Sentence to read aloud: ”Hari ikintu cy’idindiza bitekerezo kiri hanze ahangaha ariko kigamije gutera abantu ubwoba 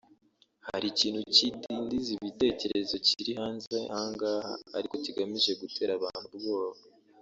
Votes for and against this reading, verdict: 3, 1, accepted